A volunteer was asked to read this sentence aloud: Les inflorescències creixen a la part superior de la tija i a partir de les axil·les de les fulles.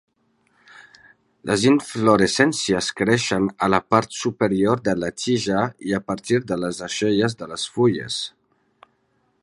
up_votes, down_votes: 2, 0